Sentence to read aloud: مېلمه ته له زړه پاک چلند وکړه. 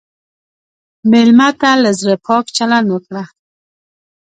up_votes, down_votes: 2, 0